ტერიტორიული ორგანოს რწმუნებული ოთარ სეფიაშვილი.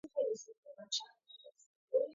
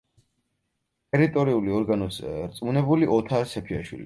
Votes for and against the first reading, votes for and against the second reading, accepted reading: 0, 2, 4, 2, second